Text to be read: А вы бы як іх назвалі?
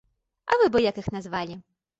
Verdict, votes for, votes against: accepted, 2, 0